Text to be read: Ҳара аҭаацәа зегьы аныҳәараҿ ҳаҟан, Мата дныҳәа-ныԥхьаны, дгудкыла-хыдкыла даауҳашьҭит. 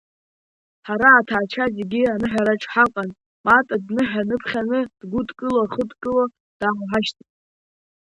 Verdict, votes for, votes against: rejected, 1, 2